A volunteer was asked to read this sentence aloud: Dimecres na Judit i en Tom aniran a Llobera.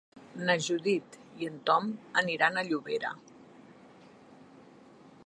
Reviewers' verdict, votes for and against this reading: rejected, 1, 2